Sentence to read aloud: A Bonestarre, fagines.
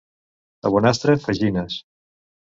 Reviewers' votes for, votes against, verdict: 1, 2, rejected